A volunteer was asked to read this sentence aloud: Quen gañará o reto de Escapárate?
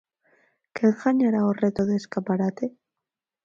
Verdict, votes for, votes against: rejected, 0, 4